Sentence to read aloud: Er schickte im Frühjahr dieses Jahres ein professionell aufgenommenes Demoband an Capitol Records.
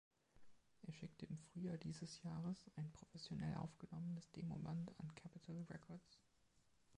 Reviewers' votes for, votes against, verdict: 2, 3, rejected